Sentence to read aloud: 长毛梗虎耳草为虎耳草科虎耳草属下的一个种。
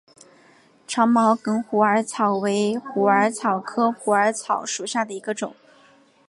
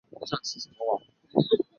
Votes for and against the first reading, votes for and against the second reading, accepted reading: 2, 1, 0, 2, first